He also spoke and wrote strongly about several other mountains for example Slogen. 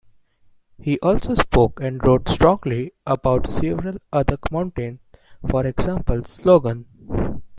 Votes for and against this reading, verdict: 1, 2, rejected